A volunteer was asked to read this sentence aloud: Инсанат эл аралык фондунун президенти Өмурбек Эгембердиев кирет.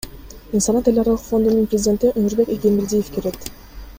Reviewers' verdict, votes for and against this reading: rejected, 2, 3